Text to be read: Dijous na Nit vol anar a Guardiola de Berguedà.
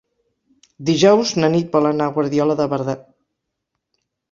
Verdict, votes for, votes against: rejected, 0, 4